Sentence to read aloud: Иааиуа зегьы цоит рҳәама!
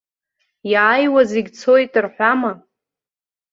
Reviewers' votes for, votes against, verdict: 2, 0, accepted